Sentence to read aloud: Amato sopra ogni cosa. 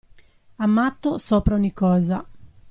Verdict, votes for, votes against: accepted, 2, 0